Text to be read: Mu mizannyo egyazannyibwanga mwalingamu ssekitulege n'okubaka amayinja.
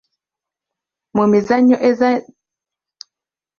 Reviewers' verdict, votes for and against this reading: rejected, 0, 2